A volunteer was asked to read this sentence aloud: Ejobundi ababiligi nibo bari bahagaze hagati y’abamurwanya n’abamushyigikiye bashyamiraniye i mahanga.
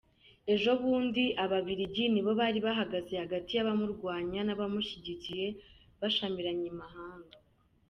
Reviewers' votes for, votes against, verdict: 1, 2, rejected